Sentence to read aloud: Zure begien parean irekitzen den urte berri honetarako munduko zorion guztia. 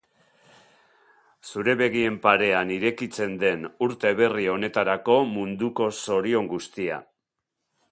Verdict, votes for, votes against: accepted, 2, 0